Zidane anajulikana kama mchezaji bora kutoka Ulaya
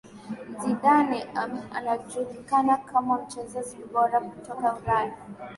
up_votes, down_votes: 2, 0